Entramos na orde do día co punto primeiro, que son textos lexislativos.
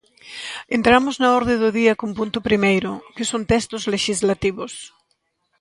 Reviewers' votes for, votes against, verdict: 0, 2, rejected